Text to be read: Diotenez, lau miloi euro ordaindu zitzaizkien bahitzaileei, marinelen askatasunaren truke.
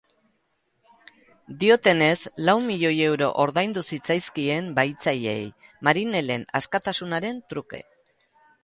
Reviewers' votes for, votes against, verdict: 6, 0, accepted